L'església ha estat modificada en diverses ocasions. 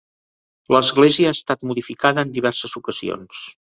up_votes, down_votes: 3, 0